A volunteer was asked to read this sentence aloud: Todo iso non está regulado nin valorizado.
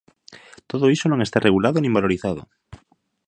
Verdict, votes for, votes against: accepted, 2, 0